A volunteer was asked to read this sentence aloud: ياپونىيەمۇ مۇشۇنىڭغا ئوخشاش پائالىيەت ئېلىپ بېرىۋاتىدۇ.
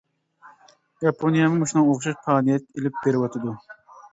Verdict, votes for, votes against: rejected, 0, 2